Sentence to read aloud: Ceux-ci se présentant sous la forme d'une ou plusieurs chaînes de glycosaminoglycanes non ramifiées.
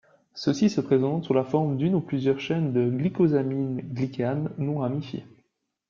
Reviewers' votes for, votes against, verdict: 0, 2, rejected